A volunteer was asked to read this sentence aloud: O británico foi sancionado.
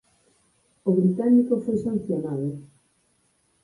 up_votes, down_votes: 4, 0